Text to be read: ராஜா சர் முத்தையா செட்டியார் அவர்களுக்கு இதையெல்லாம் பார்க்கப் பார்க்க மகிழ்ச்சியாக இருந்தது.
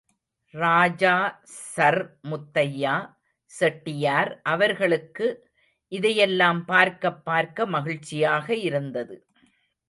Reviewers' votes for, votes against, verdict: 1, 2, rejected